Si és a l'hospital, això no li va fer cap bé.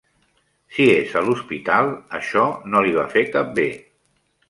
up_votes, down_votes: 2, 0